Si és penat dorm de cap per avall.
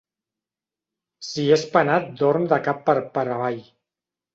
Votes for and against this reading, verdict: 0, 2, rejected